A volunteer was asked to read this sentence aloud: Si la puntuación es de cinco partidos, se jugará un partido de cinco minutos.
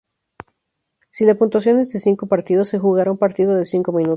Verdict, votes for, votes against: accepted, 2, 0